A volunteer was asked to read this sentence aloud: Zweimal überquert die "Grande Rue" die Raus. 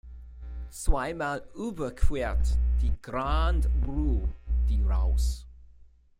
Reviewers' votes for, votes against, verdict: 2, 1, accepted